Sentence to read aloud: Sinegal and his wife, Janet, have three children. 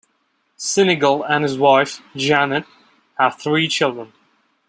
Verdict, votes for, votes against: accepted, 2, 0